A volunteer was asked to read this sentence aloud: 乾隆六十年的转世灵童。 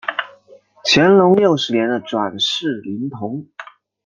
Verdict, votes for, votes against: accepted, 2, 0